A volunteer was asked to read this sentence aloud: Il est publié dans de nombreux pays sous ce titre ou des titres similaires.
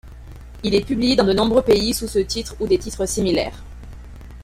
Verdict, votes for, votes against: accepted, 2, 0